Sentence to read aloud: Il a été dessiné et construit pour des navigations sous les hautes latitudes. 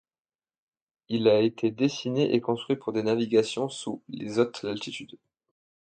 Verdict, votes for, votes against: rejected, 1, 2